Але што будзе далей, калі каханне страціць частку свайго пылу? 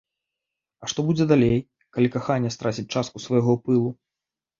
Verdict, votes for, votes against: rejected, 1, 2